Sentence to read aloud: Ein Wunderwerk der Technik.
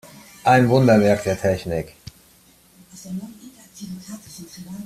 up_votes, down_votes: 2, 0